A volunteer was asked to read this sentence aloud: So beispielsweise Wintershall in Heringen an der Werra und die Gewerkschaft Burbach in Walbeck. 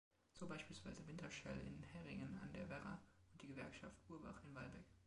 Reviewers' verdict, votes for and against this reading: accepted, 3, 2